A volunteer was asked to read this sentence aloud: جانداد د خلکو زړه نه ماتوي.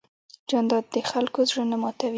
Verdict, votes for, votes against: accepted, 2, 0